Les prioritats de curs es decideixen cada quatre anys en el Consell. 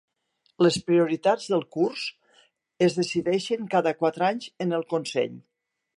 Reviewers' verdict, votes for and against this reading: rejected, 1, 2